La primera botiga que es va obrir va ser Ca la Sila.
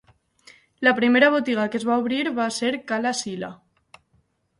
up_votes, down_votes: 4, 0